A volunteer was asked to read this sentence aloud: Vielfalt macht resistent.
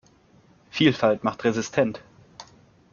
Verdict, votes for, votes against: accepted, 2, 0